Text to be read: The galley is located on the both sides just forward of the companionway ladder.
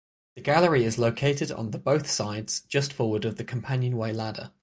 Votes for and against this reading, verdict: 6, 0, accepted